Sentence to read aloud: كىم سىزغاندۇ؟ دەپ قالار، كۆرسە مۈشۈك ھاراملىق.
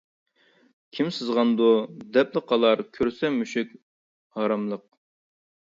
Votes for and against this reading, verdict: 0, 2, rejected